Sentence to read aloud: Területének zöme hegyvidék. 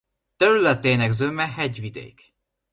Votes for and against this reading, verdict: 2, 0, accepted